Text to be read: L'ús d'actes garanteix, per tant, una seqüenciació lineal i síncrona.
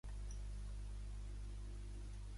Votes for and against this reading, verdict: 0, 2, rejected